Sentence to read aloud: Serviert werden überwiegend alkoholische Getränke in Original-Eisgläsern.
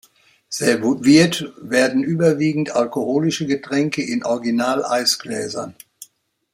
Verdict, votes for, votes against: rejected, 1, 2